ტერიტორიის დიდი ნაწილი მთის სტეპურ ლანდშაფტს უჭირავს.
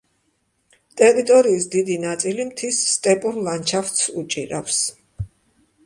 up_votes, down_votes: 2, 0